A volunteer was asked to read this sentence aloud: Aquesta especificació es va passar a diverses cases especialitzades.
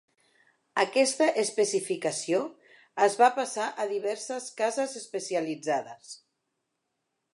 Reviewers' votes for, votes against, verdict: 2, 0, accepted